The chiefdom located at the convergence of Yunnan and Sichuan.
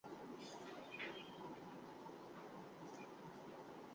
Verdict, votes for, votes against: rejected, 0, 2